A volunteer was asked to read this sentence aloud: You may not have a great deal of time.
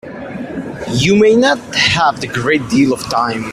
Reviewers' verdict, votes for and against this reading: rejected, 1, 2